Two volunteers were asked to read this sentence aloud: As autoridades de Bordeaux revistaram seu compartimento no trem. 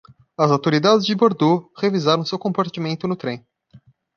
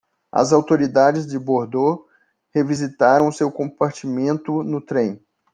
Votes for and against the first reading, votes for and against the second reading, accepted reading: 0, 2, 2, 0, second